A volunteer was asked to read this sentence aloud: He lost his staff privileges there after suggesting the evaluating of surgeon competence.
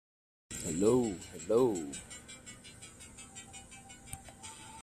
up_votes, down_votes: 0, 2